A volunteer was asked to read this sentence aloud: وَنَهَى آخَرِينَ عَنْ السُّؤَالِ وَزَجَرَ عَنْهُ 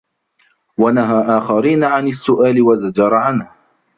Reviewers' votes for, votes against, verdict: 1, 2, rejected